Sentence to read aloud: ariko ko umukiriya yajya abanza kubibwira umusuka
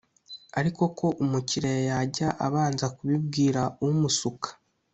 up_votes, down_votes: 2, 0